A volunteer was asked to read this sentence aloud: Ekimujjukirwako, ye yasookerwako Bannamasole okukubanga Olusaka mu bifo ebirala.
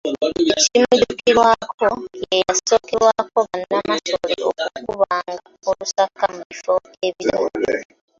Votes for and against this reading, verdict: 0, 2, rejected